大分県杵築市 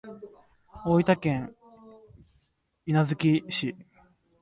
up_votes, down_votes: 1, 2